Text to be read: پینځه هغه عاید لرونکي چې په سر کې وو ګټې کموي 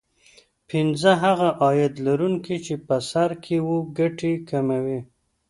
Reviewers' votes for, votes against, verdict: 2, 0, accepted